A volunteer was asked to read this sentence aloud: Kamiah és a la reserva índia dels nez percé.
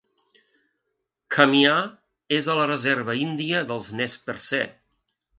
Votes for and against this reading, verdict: 3, 0, accepted